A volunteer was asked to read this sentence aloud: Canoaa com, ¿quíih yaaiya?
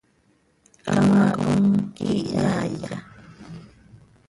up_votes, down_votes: 0, 2